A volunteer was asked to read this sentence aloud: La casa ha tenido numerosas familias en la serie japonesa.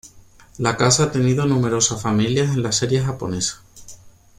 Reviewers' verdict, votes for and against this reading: rejected, 0, 2